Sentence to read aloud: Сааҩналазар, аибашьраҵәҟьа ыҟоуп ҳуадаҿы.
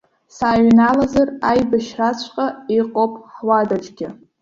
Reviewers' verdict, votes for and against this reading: rejected, 0, 2